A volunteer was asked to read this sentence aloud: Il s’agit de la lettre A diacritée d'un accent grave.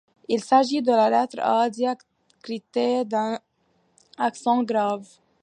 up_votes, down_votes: 2, 0